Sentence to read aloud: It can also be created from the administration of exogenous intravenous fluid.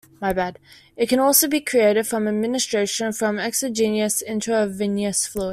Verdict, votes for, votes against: rejected, 1, 2